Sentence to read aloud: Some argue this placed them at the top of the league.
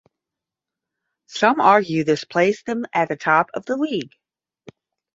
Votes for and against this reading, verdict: 10, 0, accepted